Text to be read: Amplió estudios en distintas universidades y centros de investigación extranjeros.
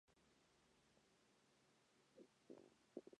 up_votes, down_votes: 0, 2